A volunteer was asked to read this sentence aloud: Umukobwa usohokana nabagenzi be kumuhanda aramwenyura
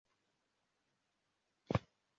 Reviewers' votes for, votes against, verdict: 0, 2, rejected